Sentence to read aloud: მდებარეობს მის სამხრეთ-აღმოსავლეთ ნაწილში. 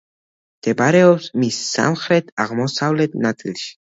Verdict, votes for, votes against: accepted, 2, 1